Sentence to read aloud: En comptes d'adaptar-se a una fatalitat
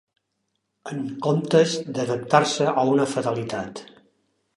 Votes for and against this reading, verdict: 2, 0, accepted